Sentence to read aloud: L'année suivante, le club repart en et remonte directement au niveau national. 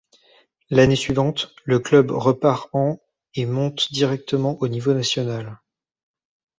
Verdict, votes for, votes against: rejected, 0, 2